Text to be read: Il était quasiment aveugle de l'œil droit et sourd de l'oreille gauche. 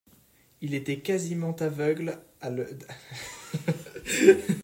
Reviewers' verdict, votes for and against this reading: rejected, 0, 2